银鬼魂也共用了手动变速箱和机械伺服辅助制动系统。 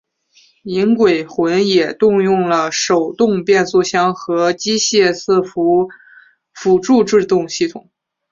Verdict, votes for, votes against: accepted, 5, 1